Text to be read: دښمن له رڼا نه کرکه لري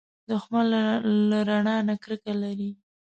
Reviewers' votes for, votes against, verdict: 1, 2, rejected